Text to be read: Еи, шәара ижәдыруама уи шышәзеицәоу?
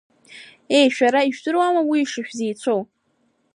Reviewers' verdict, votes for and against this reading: accepted, 2, 0